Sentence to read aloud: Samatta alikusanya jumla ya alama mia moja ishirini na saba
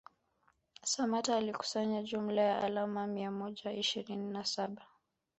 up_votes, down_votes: 0, 2